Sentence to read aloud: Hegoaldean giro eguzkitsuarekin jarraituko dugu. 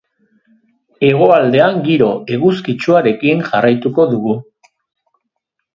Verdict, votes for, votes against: accepted, 2, 0